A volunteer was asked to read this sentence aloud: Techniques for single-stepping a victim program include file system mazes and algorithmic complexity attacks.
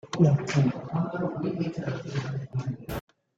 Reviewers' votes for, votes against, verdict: 0, 2, rejected